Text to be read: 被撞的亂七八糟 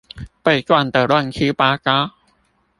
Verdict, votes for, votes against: rejected, 0, 2